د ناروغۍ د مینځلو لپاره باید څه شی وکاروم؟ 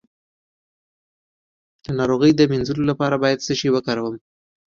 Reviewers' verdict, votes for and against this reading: accepted, 2, 0